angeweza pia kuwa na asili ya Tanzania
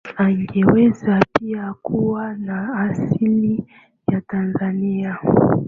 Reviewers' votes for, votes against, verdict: 3, 0, accepted